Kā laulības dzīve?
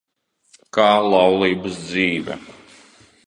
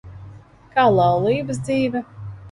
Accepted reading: second